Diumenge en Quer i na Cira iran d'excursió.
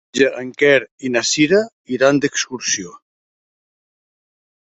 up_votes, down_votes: 0, 2